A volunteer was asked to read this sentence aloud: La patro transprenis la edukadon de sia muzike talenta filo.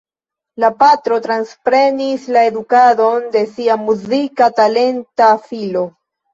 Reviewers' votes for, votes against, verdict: 2, 0, accepted